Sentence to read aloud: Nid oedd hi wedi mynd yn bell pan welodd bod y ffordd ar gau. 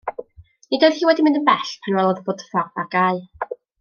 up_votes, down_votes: 1, 2